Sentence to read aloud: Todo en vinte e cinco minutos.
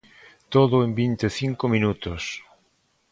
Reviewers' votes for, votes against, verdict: 2, 0, accepted